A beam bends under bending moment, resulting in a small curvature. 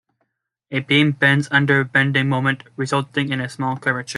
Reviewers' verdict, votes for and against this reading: rejected, 0, 2